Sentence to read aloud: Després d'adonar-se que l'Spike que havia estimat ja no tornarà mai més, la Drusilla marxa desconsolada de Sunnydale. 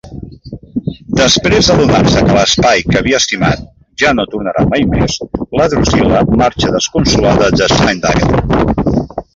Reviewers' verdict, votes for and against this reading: rejected, 0, 2